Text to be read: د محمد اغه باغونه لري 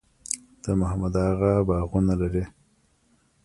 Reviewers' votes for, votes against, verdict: 1, 2, rejected